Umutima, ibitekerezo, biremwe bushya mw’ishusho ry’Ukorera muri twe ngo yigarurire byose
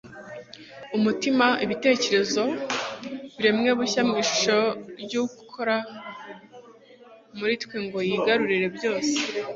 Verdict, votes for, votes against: rejected, 1, 2